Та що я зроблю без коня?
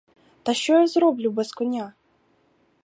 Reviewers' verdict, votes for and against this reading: accepted, 2, 0